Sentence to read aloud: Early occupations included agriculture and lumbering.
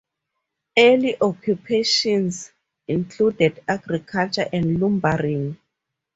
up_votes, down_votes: 4, 0